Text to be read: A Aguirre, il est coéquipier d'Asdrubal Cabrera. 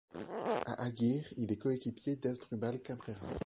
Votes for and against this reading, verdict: 1, 2, rejected